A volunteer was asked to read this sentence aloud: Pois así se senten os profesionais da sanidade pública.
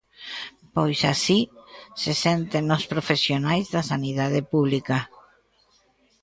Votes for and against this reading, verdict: 2, 0, accepted